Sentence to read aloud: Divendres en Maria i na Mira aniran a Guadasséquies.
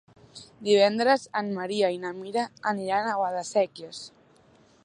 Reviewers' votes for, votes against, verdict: 3, 0, accepted